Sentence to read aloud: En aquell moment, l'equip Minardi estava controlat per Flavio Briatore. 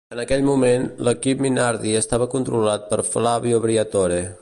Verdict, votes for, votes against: accepted, 2, 0